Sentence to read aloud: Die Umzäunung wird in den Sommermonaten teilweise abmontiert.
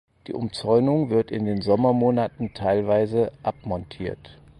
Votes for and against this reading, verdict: 4, 0, accepted